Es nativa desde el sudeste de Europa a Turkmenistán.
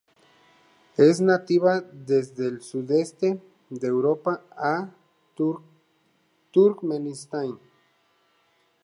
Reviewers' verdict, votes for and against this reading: rejected, 0, 2